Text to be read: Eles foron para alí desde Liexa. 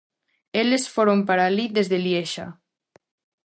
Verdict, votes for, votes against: accepted, 2, 0